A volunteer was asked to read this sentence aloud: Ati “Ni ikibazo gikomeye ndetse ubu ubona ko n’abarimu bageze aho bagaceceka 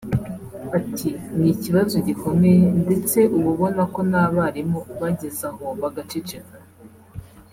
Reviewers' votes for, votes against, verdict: 2, 0, accepted